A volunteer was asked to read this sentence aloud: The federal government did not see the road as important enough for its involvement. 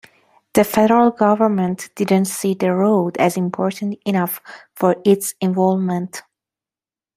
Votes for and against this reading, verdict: 0, 2, rejected